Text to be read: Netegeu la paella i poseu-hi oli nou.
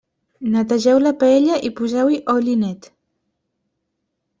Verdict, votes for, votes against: rejected, 0, 2